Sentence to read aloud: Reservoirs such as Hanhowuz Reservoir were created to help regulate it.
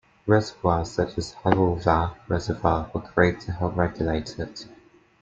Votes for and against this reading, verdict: 0, 2, rejected